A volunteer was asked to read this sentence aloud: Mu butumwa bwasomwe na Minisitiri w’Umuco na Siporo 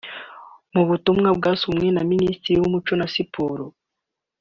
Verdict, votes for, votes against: accepted, 3, 0